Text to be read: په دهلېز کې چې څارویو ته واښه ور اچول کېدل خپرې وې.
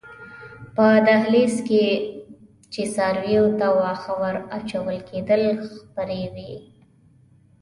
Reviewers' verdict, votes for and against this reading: accepted, 2, 0